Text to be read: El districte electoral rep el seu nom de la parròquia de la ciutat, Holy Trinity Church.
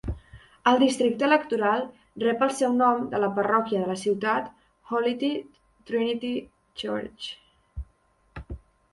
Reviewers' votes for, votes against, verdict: 2, 1, accepted